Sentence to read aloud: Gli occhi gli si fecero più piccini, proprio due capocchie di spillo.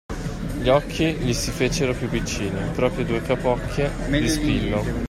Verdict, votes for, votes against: accepted, 2, 0